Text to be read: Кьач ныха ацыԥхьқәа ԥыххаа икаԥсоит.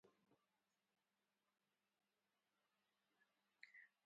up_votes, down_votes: 0, 2